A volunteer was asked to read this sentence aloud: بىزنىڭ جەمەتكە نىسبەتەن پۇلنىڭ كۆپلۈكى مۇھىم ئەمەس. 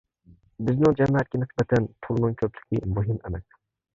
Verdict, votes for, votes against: accepted, 2, 1